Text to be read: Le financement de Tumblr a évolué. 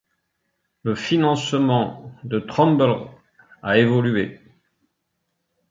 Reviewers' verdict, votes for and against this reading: rejected, 1, 2